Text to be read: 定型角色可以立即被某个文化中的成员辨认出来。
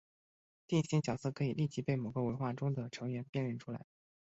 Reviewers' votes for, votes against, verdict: 5, 0, accepted